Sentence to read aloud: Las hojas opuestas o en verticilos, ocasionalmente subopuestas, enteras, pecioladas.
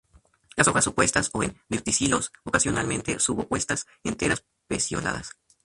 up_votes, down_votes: 0, 2